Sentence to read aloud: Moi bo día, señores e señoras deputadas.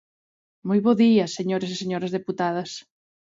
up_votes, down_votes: 2, 0